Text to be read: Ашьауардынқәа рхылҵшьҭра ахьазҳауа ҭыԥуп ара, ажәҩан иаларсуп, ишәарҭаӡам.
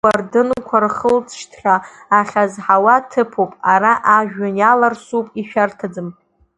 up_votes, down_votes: 1, 2